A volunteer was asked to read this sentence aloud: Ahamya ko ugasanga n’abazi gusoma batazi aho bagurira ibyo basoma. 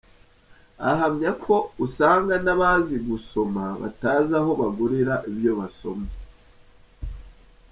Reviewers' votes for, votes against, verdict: 2, 1, accepted